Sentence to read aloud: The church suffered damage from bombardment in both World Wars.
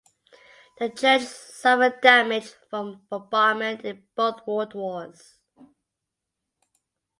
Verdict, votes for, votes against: accepted, 2, 0